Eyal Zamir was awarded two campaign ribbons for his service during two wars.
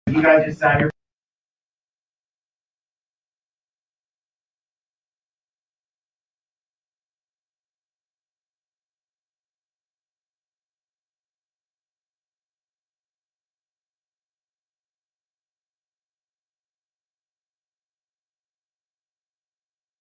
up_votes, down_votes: 0, 2